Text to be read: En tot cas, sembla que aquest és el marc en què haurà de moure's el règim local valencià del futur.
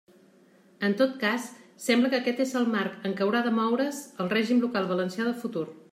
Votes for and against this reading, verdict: 2, 0, accepted